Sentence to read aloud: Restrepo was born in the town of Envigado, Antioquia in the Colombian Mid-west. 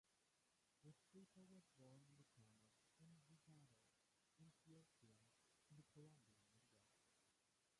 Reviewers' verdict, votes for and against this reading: rejected, 0, 2